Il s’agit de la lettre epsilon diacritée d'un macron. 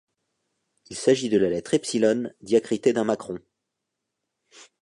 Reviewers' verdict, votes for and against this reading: accepted, 2, 0